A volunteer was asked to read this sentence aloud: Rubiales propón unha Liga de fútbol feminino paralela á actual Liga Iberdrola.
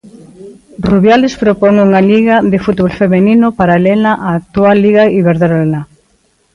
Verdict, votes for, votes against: rejected, 1, 2